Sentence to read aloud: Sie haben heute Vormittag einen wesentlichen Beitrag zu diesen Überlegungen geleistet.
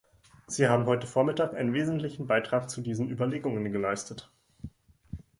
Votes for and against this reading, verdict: 2, 0, accepted